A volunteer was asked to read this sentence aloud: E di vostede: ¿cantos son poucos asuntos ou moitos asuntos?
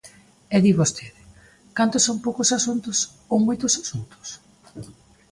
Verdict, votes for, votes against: accepted, 2, 0